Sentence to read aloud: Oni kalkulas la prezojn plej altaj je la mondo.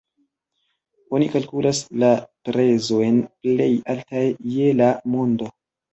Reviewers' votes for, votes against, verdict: 0, 2, rejected